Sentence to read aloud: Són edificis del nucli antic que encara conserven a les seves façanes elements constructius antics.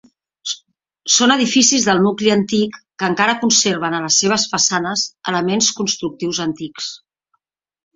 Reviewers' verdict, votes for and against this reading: accepted, 4, 0